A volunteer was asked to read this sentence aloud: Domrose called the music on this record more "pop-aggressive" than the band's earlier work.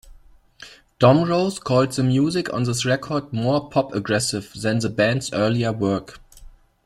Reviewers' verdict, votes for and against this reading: accepted, 2, 0